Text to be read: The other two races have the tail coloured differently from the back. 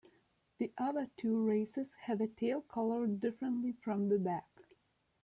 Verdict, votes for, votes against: accepted, 2, 0